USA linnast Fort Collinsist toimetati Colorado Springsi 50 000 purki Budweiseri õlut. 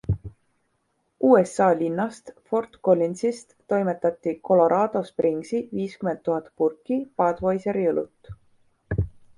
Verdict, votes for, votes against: rejected, 0, 2